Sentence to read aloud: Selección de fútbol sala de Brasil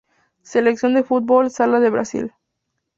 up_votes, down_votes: 2, 0